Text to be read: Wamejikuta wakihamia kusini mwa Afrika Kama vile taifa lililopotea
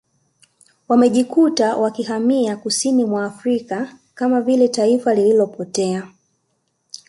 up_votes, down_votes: 2, 0